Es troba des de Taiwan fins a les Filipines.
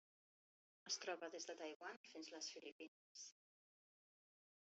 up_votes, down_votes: 1, 2